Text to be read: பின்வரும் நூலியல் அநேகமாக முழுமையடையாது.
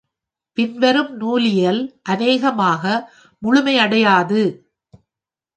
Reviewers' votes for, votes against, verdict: 2, 0, accepted